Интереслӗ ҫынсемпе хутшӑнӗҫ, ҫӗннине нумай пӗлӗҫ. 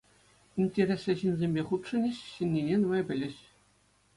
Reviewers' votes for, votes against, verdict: 2, 0, accepted